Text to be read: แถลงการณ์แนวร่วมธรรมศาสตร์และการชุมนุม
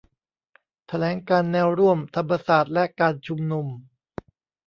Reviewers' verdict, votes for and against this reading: accepted, 2, 0